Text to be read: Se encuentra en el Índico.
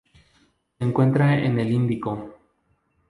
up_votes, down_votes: 0, 2